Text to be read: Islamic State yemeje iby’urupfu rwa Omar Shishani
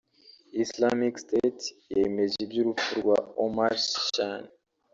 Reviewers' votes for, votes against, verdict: 0, 2, rejected